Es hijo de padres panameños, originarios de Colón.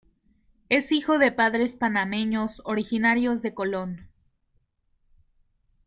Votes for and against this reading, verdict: 2, 0, accepted